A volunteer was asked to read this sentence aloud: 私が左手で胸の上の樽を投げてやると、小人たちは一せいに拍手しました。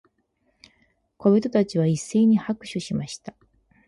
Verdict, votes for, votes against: rejected, 2, 4